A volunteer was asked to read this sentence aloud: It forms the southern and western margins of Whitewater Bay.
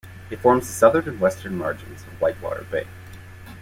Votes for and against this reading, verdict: 2, 0, accepted